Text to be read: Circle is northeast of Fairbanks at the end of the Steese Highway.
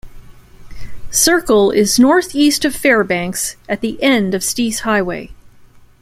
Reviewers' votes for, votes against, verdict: 1, 2, rejected